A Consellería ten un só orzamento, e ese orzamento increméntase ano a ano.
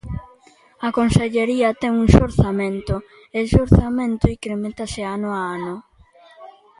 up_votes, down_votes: 0, 2